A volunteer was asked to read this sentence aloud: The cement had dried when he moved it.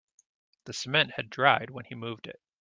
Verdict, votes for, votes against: accepted, 2, 0